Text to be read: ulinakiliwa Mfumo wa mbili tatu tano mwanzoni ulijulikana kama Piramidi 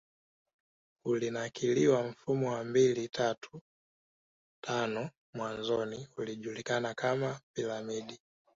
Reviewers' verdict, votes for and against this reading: accepted, 2, 0